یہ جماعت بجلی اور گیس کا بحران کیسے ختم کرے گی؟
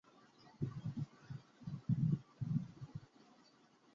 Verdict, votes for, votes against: rejected, 0, 5